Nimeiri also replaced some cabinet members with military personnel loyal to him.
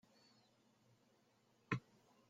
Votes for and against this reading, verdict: 0, 2, rejected